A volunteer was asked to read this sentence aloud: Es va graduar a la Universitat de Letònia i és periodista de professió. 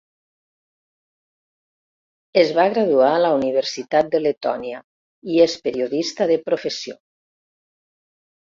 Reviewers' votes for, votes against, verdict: 0, 2, rejected